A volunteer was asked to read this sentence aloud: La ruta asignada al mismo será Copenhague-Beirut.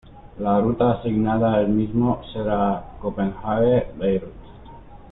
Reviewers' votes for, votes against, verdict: 2, 0, accepted